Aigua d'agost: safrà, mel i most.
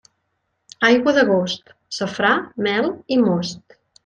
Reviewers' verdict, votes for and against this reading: accepted, 3, 0